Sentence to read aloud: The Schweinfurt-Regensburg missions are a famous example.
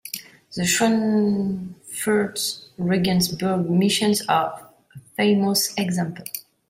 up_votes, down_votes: 1, 2